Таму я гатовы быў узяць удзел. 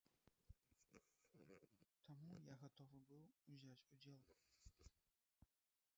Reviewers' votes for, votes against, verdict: 1, 2, rejected